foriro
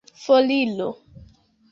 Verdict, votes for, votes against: accepted, 2, 0